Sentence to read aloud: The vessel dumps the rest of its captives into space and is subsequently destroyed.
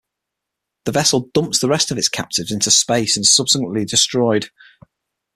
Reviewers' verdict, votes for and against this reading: accepted, 6, 0